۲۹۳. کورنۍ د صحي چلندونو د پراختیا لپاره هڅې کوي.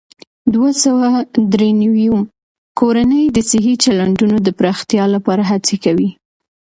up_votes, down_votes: 0, 2